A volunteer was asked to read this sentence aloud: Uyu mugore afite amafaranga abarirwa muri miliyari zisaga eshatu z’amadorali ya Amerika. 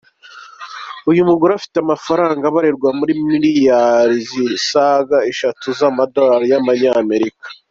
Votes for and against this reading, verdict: 2, 0, accepted